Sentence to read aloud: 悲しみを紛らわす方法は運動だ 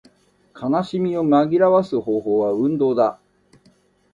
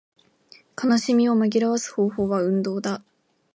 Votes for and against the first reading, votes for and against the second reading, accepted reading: 0, 2, 2, 0, second